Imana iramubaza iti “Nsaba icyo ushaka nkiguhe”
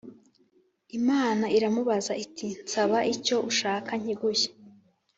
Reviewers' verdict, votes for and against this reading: accepted, 3, 0